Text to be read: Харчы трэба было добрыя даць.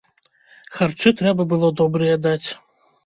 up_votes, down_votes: 2, 0